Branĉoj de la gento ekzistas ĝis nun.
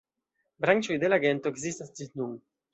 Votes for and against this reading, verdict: 2, 0, accepted